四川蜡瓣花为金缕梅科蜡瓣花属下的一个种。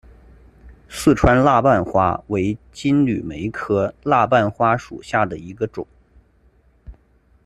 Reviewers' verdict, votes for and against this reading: accepted, 2, 0